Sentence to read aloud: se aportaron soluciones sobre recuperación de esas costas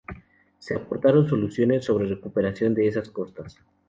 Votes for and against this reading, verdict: 2, 0, accepted